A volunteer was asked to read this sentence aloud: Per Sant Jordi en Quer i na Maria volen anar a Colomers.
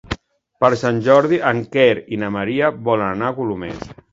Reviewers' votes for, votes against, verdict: 2, 0, accepted